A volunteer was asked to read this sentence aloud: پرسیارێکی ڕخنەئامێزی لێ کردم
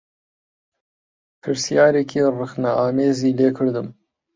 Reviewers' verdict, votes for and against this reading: accepted, 2, 0